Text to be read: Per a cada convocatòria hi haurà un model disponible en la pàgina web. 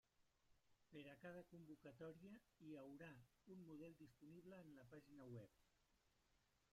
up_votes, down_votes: 0, 4